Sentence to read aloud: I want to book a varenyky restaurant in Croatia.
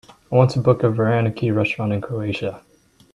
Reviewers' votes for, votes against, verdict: 2, 0, accepted